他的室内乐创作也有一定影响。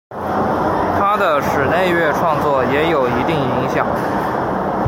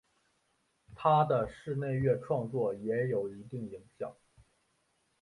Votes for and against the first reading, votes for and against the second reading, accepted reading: 0, 2, 3, 0, second